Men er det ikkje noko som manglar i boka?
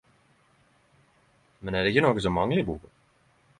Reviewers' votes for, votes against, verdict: 10, 5, accepted